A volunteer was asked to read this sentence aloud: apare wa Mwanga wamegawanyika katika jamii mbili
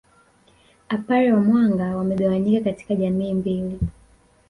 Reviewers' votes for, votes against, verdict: 1, 2, rejected